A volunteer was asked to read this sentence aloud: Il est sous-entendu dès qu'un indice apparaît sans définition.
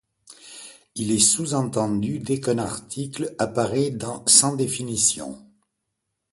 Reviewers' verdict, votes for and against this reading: accepted, 2, 1